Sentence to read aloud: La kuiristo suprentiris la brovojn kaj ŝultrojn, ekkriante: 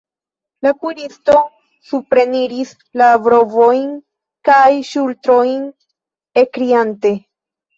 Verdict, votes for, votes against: rejected, 1, 2